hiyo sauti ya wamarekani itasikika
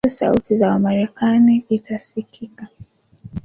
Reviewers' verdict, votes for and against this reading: rejected, 0, 2